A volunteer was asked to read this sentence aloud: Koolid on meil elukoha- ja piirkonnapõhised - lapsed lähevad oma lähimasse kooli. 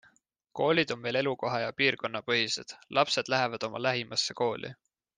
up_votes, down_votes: 2, 0